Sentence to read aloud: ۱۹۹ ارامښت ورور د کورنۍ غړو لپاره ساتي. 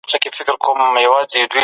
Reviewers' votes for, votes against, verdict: 0, 2, rejected